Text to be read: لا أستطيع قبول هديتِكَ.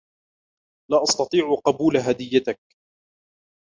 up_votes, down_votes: 2, 0